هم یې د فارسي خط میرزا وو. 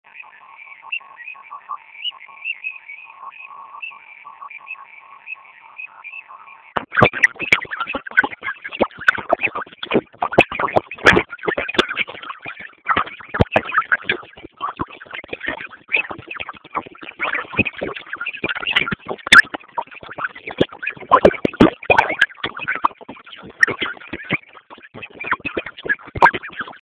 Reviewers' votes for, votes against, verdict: 0, 2, rejected